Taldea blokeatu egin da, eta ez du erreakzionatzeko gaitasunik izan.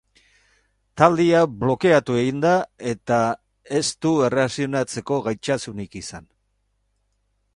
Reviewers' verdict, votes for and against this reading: rejected, 0, 2